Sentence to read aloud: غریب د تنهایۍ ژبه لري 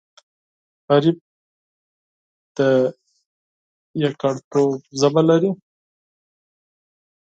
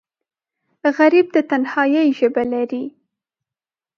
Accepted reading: second